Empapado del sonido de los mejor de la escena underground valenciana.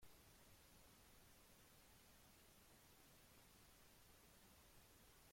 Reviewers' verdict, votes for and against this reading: rejected, 0, 2